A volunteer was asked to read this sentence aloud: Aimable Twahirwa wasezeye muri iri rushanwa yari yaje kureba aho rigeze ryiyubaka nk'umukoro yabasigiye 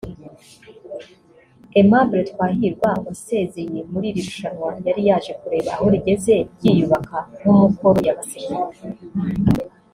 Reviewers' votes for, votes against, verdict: 1, 2, rejected